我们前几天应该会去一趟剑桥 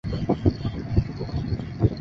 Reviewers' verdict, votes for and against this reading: rejected, 0, 3